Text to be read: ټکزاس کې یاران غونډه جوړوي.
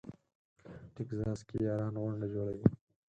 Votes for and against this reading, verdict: 2, 4, rejected